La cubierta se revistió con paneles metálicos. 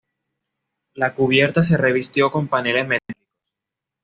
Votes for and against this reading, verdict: 1, 2, rejected